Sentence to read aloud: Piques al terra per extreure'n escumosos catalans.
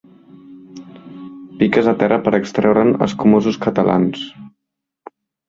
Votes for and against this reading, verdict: 1, 2, rejected